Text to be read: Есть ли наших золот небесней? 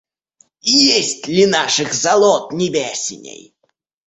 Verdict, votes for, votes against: rejected, 0, 2